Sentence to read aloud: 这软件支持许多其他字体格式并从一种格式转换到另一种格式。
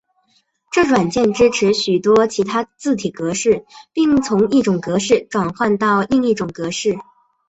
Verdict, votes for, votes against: accepted, 2, 0